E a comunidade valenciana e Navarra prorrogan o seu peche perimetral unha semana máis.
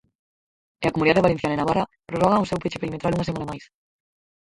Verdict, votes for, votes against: rejected, 0, 6